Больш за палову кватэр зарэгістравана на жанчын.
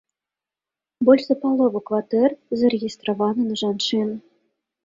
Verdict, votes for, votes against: accepted, 2, 0